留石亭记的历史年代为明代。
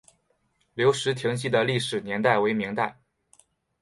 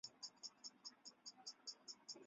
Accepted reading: first